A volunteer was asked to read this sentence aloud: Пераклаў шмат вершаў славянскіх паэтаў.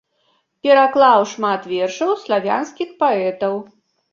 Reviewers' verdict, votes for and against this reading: rejected, 0, 2